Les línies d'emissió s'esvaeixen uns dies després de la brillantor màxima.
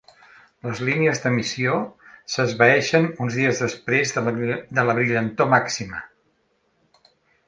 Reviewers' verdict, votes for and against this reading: rejected, 1, 2